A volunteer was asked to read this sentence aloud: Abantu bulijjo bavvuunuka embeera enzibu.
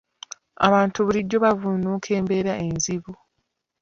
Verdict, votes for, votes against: rejected, 1, 2